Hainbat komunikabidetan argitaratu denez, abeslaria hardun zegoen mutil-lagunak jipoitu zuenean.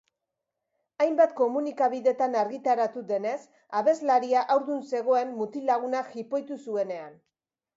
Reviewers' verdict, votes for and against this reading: accepted, 2, 0